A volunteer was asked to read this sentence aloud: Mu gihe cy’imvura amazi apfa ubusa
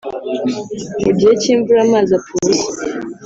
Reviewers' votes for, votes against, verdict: 2, 1, accepted